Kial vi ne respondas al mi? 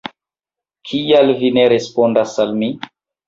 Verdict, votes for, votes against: rejected, 1, 2